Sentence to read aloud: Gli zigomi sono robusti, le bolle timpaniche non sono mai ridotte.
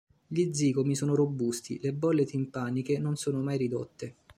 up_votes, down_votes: 2, 0